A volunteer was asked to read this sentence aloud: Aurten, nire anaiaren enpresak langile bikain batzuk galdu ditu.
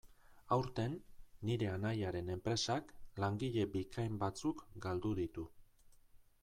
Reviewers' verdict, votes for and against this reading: accepted, 2, 0